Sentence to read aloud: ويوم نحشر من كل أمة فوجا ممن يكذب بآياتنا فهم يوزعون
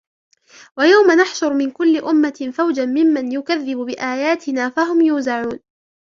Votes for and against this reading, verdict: 2, 0, accepted